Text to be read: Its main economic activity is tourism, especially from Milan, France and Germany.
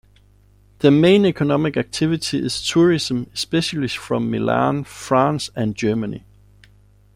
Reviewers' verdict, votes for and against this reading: rejected, 0, 2